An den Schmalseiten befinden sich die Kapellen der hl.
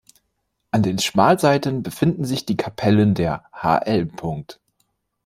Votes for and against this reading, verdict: 1, 2, rejected